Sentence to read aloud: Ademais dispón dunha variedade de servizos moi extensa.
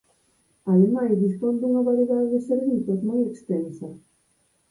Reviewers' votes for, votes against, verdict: 2, 4, rejected